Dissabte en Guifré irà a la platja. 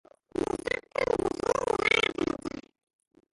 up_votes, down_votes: 0, 2